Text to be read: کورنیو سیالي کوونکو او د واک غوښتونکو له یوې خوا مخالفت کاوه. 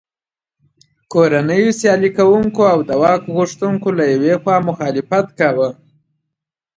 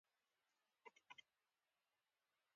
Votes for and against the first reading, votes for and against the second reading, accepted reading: 2, 0, 0, 2, first